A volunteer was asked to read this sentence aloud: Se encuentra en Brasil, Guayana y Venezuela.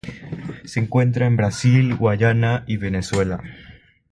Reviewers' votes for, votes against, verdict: 0, 3, rejected